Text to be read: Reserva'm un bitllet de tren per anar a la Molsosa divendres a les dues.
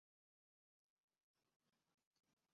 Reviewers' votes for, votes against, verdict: 0, 2, rejected